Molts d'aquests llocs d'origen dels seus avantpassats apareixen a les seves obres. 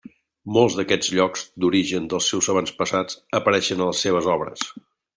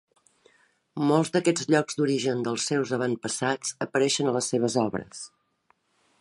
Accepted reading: second